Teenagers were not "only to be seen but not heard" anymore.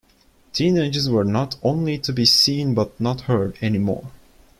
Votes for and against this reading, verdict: 2, 0, accepted